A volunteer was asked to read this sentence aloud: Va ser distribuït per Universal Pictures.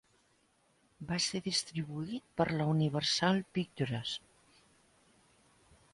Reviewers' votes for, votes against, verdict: 1, 4, rejected